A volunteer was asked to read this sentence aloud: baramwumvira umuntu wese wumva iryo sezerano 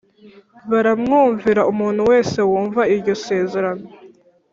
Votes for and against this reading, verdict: 2, 0, accepted